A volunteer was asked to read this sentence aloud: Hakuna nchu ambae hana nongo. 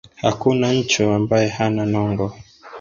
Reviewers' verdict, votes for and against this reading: rejected, 1, 2